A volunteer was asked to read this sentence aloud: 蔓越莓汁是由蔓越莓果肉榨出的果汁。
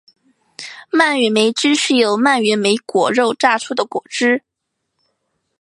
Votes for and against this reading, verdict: 6, 0, accepted